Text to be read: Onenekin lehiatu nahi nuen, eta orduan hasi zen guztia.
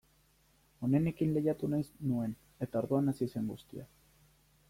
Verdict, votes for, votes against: rejected, 1, 2